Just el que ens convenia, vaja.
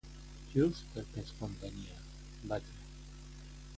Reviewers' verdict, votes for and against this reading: rejected, 1, 2